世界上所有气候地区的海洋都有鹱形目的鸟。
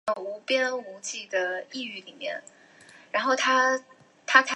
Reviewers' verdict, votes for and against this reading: rejected, 0, 3